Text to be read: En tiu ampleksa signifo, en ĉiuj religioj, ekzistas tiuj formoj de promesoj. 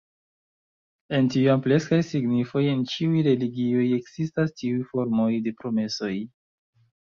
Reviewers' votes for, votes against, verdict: 2, 3, rejected